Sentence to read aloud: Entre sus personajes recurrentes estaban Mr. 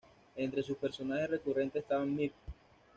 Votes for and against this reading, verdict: 1, 2, rejected